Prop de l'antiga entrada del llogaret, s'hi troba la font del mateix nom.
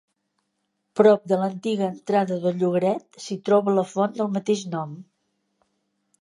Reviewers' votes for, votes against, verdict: 2, 0, accepted